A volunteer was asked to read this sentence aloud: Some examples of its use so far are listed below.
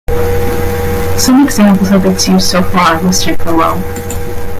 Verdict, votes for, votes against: rejected, 1, 2